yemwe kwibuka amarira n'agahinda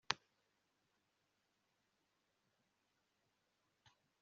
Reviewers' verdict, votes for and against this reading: rejected, 0, 2